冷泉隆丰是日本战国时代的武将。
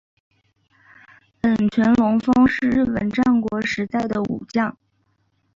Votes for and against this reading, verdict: 0, 2, rejected